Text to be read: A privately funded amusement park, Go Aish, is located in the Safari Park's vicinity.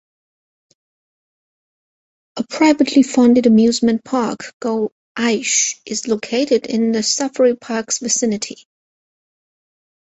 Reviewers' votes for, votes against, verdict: 4, 0, accepted